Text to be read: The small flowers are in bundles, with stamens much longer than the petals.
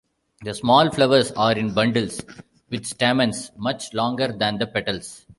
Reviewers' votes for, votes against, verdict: 0, 2, rejected